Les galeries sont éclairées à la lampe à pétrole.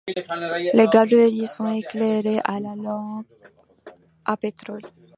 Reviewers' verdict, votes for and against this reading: rejected, 0, 2